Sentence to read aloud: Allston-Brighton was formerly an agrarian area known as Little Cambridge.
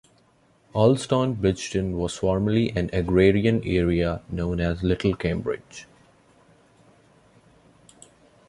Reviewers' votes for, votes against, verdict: 2, 0, accepted